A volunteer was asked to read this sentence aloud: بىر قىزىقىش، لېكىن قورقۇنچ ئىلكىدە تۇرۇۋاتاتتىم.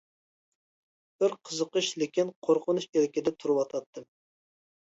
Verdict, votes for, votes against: accepted, 2, 0